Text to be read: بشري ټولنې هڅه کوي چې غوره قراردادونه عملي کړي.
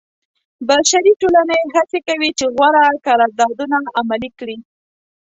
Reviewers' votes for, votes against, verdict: 0, 2, rejected